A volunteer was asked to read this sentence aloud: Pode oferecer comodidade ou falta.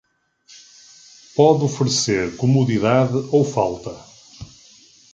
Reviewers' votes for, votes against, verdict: 2, 1, accepted